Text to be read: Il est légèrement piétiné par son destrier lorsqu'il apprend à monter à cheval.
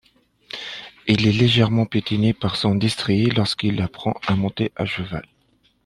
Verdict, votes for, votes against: accepted, 2, 0